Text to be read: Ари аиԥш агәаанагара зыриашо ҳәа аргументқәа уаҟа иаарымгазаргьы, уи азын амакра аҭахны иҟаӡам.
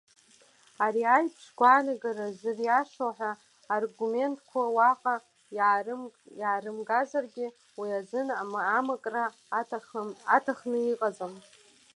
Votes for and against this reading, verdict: 0, 2, rejected